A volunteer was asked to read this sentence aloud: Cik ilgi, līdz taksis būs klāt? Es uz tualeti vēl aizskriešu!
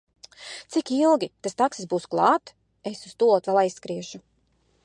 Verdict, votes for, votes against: rejected, 1, 2